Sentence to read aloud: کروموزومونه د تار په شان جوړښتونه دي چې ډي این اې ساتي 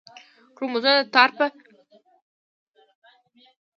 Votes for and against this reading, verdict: 1, 2, rejected